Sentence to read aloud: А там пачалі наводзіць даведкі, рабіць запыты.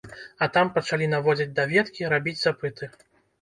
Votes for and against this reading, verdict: 1, 2, rejected